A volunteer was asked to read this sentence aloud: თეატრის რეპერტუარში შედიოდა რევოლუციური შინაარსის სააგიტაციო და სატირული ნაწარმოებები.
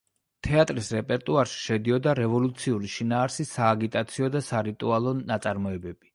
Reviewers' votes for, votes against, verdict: 0, 2, rejected